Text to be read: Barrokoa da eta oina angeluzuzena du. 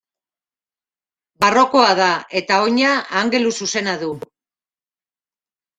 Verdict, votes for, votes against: accepted, 2, 0